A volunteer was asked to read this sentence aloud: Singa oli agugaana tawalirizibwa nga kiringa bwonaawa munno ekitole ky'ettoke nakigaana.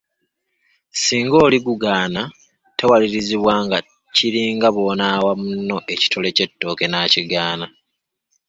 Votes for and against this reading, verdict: 1, 2, rejected